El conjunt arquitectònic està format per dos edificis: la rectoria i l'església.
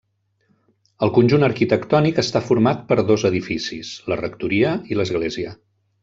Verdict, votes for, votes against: accepted, 3, 0